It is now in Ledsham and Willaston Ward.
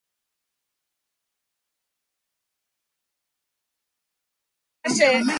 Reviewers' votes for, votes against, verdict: 0, 2, rejected